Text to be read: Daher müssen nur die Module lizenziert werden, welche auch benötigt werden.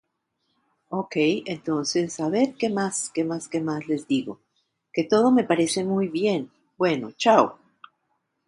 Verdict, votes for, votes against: rejected, 0, 2